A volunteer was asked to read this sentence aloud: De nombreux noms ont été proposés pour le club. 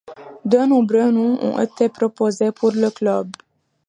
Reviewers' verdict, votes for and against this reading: accepted, 2, 0